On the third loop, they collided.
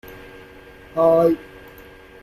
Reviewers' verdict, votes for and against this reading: rejected, 0, 2